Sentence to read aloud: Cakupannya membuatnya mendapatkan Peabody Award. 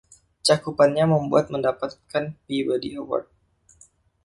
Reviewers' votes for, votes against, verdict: 1, 2, rejected